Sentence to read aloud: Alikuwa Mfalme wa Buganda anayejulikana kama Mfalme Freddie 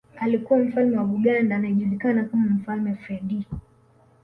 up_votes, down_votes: 2, 0